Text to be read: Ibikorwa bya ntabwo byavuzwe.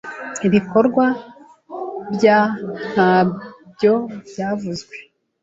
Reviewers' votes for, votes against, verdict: 0, 2, rejected